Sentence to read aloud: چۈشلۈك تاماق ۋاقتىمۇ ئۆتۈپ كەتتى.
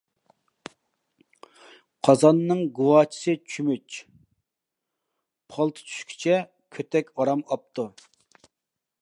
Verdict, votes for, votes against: rejected, 0, 2